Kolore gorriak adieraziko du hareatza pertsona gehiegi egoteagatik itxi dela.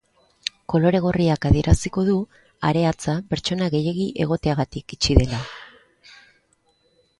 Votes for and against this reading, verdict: 2, 0, accepted